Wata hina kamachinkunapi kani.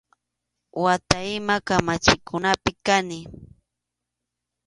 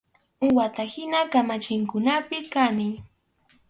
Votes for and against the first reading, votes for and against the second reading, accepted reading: 2, 0, 2, 2, first